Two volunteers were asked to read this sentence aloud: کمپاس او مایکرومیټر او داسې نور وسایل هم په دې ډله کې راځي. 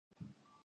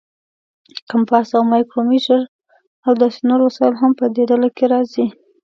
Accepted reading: second